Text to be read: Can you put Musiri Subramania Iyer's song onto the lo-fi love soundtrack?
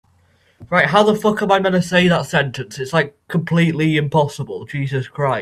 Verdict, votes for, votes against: rejected, 1, 25